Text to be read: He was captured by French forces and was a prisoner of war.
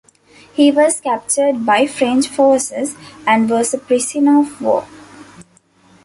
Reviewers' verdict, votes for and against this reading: rejected, 0, 2